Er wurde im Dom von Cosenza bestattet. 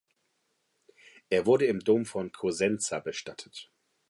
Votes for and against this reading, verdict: 2, 0, accepted